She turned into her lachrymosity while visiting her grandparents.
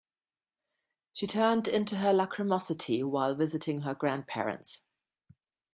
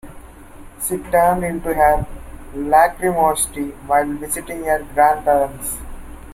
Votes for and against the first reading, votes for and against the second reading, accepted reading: 2, 0, 1, 2, first